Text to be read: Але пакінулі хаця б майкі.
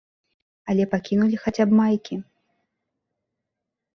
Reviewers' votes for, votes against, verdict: 2, 0, accepted